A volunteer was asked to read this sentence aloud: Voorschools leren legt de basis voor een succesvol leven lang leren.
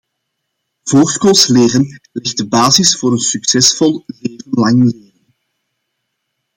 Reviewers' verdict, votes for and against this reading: rejected, 0, 2